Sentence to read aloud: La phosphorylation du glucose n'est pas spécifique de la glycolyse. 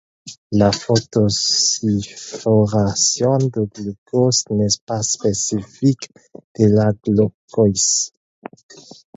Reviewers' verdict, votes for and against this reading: rejected, 2, 4